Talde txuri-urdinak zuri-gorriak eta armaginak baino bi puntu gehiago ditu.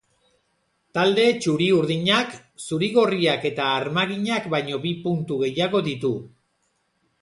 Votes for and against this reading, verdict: 2, 0, accepted